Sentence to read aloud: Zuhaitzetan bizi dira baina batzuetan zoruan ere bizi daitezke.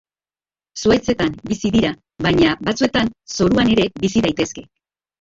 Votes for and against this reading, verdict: 0, 3, rejected